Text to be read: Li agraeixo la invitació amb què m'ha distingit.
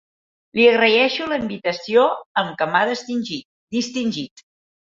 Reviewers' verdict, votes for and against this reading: rejected, 0, 2